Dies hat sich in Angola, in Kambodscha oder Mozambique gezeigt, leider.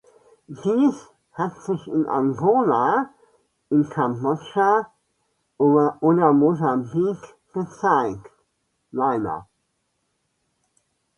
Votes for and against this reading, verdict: 0, 2, rejected